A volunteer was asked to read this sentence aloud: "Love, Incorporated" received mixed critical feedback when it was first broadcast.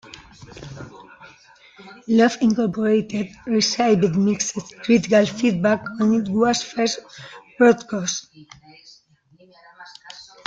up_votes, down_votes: 0, 2